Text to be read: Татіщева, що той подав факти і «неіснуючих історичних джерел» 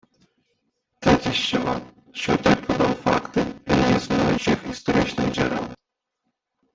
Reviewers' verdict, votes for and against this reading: rejected, 0, 2